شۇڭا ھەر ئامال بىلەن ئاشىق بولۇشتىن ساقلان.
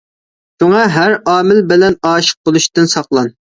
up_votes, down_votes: 1, 2